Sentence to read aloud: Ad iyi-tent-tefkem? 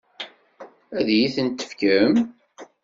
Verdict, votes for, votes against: accepted, 2, 0